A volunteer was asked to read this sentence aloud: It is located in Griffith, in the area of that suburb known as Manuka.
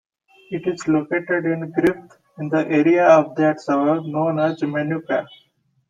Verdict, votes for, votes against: rejected, 0, 2